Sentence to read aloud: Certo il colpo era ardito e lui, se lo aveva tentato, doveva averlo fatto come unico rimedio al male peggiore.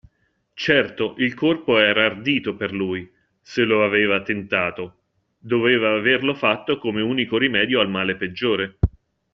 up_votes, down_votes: 0, 2